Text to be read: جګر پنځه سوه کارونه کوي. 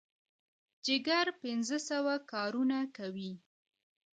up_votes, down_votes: 1, 2